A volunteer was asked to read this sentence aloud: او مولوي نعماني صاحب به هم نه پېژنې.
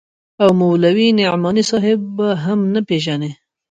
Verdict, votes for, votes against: accepted, 2, 0